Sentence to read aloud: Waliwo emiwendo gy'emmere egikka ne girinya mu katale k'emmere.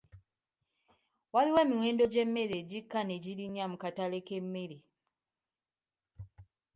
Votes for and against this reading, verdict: 2, 1, accepted